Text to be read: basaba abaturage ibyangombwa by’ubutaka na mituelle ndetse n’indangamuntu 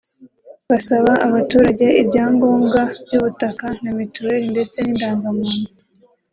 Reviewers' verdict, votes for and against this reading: accepted, 3, 0